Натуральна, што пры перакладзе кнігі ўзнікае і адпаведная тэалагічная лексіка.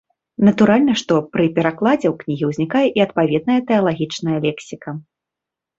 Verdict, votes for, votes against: rejected, 1, 2